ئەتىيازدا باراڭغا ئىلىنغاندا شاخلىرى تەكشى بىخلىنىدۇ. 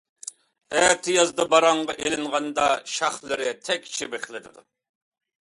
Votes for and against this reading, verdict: 2, 1, accepted